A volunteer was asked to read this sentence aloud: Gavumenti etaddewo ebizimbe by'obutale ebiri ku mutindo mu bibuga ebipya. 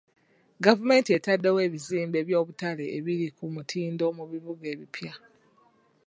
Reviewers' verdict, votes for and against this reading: accepted, 2, 0